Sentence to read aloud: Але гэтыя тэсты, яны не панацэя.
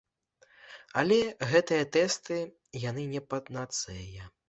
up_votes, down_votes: 1, 2